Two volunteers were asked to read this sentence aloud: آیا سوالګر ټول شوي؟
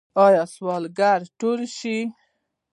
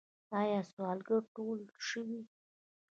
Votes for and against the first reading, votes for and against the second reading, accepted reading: 0, 2, 2, 0, second